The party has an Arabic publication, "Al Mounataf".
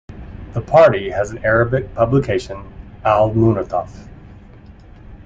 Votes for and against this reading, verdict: 2, 0, accepted